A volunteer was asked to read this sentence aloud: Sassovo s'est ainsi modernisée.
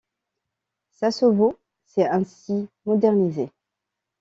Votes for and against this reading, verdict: 2, 0, accepted